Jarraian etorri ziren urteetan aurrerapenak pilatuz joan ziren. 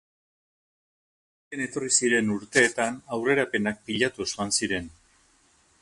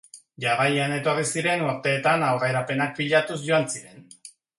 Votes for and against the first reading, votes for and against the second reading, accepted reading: 0, 4, 2, 0, second